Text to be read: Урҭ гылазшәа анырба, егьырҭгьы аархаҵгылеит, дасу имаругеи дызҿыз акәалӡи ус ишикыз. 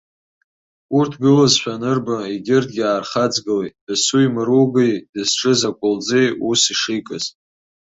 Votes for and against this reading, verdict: 2, 0, accepted